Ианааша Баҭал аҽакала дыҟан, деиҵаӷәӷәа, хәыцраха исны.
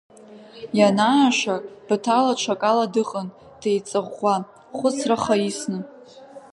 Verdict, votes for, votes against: accepted, 2, 0